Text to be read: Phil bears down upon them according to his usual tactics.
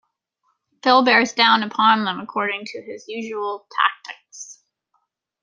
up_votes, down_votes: 2, 0